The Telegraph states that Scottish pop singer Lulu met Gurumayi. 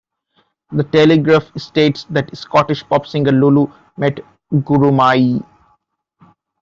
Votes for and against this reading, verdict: 2, 0, accepted